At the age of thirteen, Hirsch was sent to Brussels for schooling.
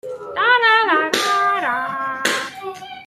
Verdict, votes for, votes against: rejected, 0, 2